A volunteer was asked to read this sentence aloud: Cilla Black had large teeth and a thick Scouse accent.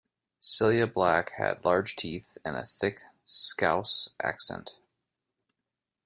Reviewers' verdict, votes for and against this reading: rejected, 0, 2